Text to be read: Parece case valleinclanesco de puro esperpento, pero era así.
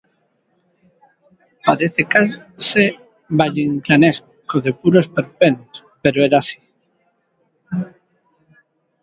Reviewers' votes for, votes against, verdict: 1, 2, rejected